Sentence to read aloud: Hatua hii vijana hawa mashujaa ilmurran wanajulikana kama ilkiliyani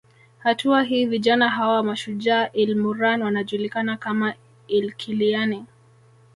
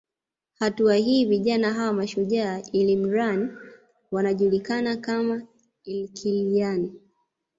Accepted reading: second